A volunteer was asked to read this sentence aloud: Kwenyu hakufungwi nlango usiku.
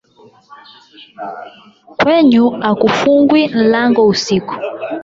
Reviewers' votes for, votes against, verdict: 12, 4, accepted